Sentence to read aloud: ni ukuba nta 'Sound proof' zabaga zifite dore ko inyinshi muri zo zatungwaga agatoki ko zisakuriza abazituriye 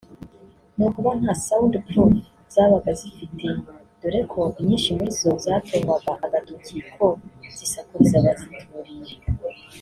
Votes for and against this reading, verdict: 1, 2, rejected